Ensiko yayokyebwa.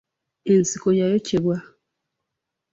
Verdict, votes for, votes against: accepted, 2, 0